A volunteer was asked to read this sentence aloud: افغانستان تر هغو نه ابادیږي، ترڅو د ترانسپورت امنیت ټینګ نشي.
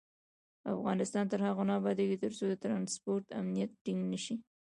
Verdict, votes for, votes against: rejected, 1, 2